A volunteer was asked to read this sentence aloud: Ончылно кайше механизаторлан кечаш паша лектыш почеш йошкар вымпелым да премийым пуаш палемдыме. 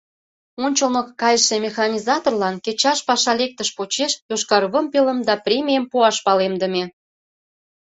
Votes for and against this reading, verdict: 2, 0, accepted